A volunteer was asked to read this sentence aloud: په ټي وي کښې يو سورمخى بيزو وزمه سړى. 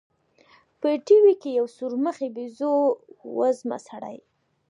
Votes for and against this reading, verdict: 0, 2, rejected